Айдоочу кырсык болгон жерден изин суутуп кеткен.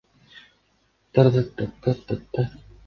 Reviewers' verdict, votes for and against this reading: rejected, 0, 2